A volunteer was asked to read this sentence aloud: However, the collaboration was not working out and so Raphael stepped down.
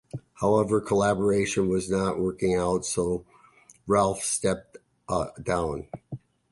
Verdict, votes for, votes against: rejected, 0, 2